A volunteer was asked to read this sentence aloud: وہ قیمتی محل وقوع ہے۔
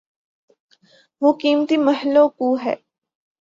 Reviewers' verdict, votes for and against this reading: accepted, 5, 0